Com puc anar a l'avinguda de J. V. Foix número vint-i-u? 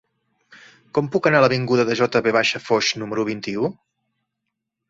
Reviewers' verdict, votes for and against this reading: accepted, 3, 0